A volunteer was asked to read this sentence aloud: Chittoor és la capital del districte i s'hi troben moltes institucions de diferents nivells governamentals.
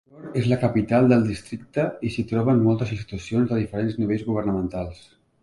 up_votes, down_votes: 1, 2